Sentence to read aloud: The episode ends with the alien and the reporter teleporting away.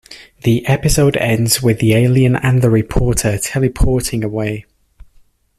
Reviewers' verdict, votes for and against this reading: accepted, 2, 0